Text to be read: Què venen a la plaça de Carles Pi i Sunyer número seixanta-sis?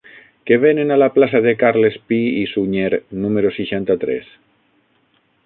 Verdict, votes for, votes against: rejected, 0, 6